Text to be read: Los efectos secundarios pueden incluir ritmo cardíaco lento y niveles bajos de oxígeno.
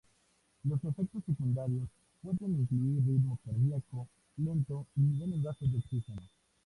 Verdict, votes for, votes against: rejected, 0, 2